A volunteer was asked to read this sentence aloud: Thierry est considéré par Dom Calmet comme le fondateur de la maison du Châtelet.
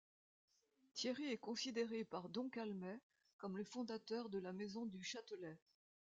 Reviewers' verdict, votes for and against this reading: rejected, 0, 2